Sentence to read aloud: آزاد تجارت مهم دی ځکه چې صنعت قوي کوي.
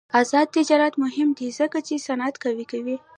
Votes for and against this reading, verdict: 1, 2, rejected